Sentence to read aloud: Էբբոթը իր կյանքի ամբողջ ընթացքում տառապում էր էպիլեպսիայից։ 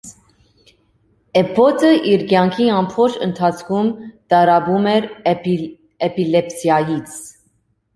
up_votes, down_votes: 0, 2